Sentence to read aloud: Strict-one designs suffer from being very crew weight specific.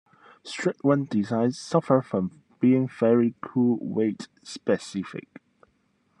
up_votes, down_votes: 2, 0